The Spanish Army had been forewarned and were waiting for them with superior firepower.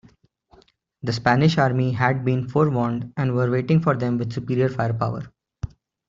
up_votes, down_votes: 2, 0